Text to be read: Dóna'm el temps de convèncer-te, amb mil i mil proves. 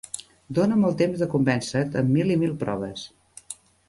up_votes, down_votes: 1, 2